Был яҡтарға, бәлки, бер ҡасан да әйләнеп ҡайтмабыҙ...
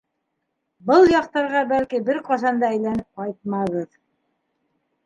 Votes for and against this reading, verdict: 2, 1, accepted